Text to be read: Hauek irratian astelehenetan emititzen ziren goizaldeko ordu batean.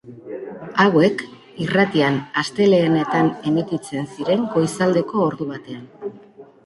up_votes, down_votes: 2, 1